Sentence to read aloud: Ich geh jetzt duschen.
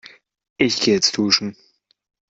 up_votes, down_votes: 0, 2